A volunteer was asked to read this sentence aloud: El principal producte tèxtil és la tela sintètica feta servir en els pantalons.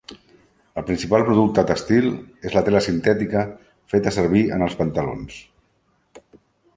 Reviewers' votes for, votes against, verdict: 0, 2, rejected